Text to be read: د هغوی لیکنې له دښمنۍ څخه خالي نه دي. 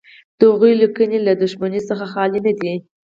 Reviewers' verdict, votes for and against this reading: accepted, 4, 0